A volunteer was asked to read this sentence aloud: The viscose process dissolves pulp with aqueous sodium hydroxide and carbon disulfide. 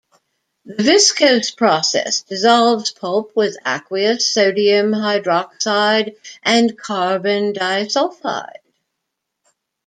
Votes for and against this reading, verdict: 1, 2, rejected